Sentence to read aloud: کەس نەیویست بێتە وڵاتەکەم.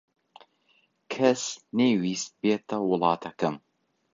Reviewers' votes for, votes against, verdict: 2, 0, accepted